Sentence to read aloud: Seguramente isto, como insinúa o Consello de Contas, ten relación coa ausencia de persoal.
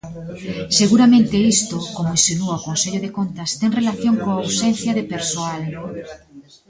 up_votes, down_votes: 1, 2